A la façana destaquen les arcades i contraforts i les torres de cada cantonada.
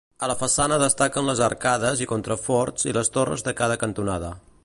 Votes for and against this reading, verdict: 2, 0, accepted